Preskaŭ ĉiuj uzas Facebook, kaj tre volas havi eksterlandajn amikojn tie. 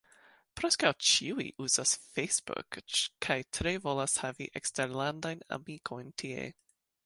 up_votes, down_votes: 2, 0